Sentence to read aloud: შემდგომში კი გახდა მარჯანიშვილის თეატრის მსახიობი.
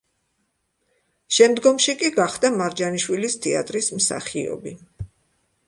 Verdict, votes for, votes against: accepted, 2, 0